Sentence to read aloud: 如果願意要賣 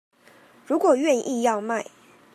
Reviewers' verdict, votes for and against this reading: accepted, 2, 0